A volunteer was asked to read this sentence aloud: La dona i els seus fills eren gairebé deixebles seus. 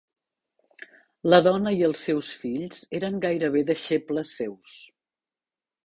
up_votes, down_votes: 3, 0